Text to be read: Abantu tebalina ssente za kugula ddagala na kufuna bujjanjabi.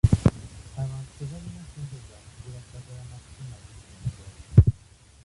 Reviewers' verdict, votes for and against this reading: rejected, 1, 2